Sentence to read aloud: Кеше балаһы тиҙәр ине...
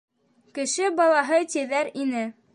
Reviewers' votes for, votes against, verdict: 2, 0, accepted